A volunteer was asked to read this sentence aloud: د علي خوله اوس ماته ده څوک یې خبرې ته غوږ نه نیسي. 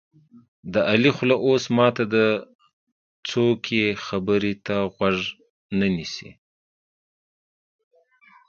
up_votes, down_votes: 2, 0